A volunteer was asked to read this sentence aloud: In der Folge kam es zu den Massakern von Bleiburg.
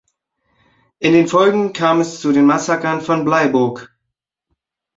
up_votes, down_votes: 1, 2